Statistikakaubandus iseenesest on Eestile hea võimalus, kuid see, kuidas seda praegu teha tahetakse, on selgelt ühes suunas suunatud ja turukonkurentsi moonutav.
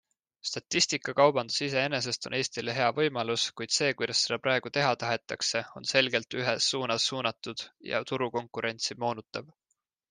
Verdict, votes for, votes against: accepted, 2, 0